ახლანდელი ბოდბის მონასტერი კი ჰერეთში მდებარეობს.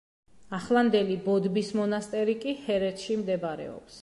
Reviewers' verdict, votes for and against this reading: accepted, 2, 0